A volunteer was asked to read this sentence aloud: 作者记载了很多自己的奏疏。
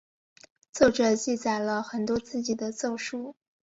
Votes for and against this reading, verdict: 2, 0, accepted